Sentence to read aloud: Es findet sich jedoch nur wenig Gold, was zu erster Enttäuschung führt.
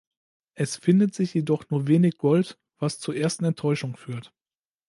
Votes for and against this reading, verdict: 1, 2, rejected